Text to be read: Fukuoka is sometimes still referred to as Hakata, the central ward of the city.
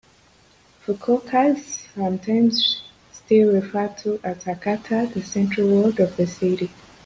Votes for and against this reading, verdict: 0, 2, rejected